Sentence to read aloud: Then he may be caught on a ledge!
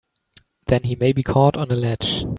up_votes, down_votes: 2, 1